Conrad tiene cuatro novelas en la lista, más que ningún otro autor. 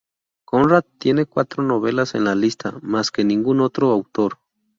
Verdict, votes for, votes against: rejected, 2, 2